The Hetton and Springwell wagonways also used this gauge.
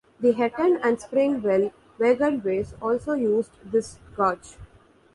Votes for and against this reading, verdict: 0, 2, rejected